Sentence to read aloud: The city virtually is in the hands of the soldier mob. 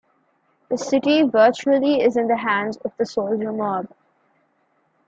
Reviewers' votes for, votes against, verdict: 2, 1, accepted